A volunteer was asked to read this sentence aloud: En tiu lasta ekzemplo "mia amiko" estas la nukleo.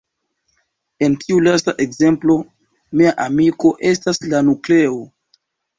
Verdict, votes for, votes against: accepted, 2, 0